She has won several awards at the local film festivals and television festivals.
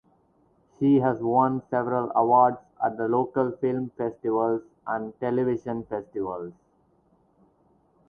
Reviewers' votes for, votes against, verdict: 4, 0, accepted